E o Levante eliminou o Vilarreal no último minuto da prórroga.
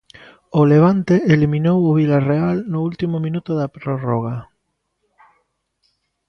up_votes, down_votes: 0, 2